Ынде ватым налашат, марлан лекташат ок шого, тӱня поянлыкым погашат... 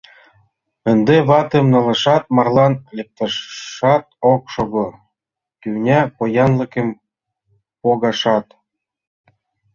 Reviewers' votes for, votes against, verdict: 1, 2, rejected